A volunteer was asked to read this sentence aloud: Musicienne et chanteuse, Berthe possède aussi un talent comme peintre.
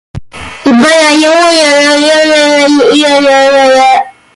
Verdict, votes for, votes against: rejected, 0, 2